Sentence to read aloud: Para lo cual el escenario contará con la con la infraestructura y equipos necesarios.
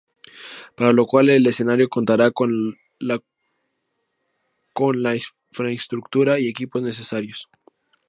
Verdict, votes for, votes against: accepted, 2, 0